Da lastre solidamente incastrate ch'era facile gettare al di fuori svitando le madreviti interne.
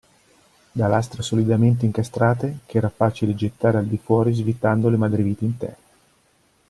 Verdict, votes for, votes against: accepted, 2, 0